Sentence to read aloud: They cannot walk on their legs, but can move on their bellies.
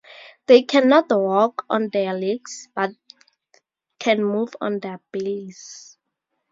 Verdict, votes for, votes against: accepted, 2, 0